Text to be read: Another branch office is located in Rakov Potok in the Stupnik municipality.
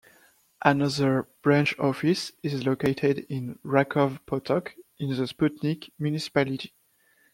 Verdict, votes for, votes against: accepted, 2, 1